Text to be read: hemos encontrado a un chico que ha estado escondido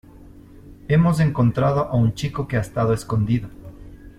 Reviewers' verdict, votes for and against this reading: accepted, 2, 0